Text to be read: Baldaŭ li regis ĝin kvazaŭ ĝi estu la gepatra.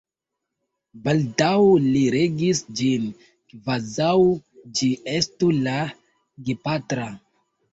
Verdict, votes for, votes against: rejected, 1, 2